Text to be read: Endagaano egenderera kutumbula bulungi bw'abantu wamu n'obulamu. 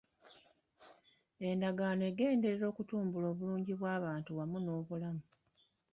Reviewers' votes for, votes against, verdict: 2, 1, accepted